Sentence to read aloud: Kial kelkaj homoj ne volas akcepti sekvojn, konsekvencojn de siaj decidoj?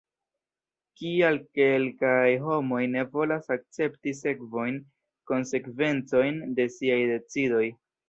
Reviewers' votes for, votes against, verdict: 0, 2, rejected